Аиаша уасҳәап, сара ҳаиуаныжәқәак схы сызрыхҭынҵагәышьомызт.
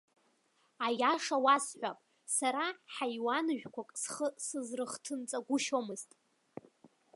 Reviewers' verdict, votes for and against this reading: accepted, 2, 0